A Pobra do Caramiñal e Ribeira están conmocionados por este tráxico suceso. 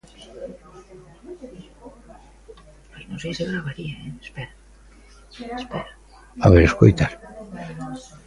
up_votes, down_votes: 0, 2